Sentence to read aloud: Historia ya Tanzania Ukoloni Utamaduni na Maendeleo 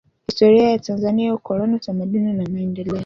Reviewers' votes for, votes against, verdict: 2, 1, accepted